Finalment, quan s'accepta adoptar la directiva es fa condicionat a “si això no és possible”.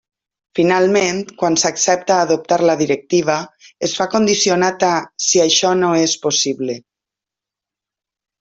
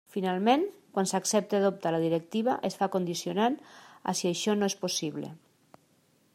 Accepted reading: first